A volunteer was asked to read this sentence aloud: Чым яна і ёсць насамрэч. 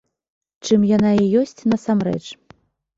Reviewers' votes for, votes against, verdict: 2, 0, accepted